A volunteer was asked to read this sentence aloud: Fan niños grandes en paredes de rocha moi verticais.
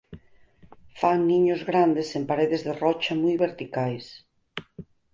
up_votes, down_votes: 4, 2